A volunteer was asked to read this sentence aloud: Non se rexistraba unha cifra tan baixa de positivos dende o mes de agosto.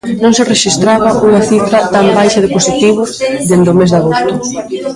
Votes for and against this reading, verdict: 1, 2, rejected